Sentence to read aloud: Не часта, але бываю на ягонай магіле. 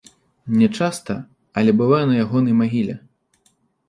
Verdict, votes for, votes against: accepted, 2, 0